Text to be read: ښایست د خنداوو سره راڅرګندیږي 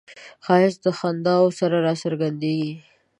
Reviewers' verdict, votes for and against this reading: accepted, 2, 0